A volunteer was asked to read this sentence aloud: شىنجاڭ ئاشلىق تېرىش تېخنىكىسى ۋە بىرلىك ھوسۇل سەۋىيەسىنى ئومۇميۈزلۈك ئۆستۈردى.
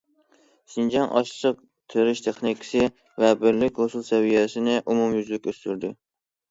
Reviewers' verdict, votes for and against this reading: accepted, 2, 0